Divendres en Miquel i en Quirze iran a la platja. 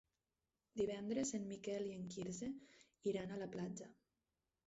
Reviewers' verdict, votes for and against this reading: rejected, 0, 4